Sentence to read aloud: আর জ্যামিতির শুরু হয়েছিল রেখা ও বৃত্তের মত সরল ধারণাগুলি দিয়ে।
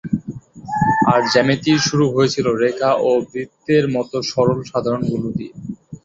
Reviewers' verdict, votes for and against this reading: rejected, 1, 2